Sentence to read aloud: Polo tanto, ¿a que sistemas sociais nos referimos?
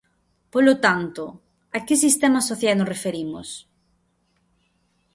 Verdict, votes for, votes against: accepted, 2, 0